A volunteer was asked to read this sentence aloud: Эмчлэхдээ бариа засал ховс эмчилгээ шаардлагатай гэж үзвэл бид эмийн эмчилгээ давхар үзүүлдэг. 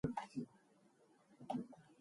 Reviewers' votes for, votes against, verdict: 0, 2, rejected